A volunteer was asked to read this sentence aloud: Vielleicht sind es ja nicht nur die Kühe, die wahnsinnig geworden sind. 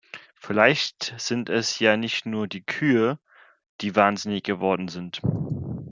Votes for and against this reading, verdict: 2, 0, accepted